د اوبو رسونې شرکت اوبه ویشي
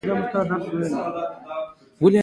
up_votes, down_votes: 1, 2